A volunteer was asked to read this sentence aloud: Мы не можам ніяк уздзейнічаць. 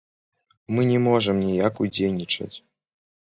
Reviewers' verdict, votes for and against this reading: rejected, 1, 2